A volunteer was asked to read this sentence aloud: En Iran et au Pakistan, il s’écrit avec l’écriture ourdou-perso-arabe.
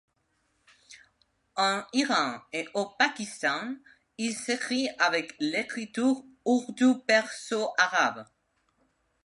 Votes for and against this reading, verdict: 1, 2, rejected